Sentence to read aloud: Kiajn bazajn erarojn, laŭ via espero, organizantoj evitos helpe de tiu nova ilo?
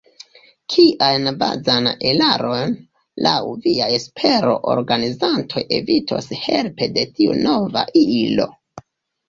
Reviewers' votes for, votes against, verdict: 0, 2, rejected